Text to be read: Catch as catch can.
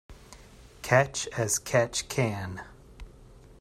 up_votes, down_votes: 2, 0